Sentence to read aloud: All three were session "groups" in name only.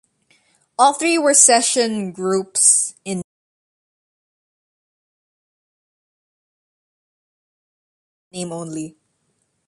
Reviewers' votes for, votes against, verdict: 0, 2, rejected